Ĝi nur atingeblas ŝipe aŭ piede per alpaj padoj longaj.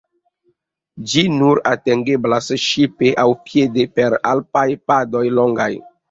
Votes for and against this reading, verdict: 2, 1, accepted